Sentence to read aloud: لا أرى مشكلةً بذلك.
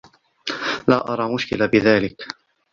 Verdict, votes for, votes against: accepted, 2, 1